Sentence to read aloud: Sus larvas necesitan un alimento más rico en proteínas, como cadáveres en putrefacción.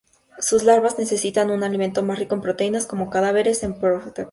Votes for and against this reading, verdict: 0, 2, rejected